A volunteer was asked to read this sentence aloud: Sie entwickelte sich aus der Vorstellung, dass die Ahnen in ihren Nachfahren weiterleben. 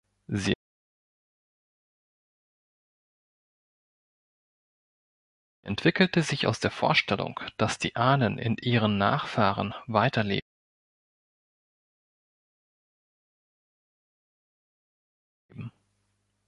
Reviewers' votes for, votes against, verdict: 0, 3, rejected